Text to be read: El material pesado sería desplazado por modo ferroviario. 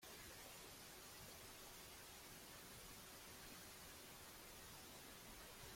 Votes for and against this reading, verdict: 0, 2, rejected